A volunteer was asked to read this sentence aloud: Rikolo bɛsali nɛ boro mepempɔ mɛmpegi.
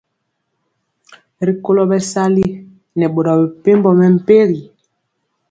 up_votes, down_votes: 2, 0